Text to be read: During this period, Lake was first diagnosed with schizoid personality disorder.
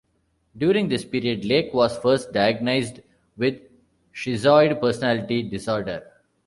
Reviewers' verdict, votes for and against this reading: rejected, 0, 2